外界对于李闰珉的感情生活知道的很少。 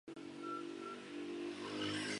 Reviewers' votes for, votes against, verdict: 1, 2, rejected